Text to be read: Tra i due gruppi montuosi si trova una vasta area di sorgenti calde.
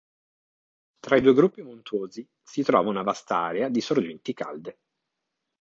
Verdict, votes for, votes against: rejected, 1, 2